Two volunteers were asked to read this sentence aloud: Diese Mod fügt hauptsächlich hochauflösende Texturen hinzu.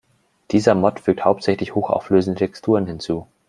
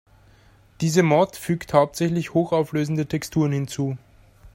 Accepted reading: second